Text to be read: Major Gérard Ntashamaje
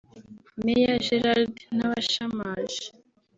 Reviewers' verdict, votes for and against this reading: rejected, 0, 2